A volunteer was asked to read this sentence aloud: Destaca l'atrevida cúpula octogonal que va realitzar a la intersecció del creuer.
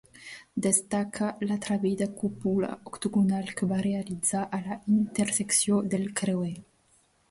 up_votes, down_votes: 2, 0